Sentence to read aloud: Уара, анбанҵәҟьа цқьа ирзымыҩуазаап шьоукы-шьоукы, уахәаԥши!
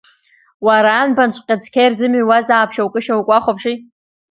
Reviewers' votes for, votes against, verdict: 2, 0, accepted